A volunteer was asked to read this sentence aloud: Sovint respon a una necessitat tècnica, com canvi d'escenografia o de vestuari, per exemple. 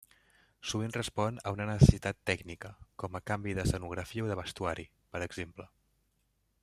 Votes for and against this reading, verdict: 0, 2, rejected